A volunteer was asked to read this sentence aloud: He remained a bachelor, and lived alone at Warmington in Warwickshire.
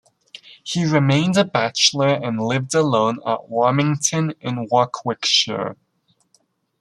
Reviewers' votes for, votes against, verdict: 0, 2, rejected